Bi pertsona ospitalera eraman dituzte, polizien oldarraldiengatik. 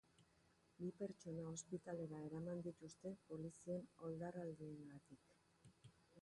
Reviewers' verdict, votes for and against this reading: rejected, 0, 3